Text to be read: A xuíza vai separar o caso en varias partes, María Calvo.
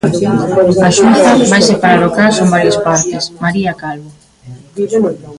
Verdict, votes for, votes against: rejected, 0, 2